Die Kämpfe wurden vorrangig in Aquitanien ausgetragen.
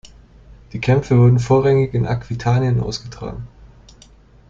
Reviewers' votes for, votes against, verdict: 2, 0, accepted